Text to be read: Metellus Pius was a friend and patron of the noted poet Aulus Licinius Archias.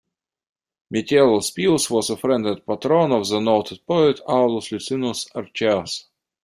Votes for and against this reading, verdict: 1, 2, rejected